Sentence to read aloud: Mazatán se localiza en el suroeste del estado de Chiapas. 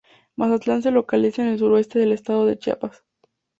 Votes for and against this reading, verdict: 4, 0, accepted